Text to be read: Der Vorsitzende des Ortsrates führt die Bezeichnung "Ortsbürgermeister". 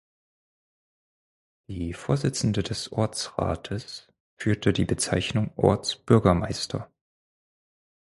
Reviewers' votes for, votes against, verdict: 0, 4, rejected